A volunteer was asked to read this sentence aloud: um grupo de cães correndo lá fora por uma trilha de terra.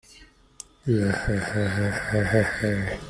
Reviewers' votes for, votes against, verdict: 0, 2, rejected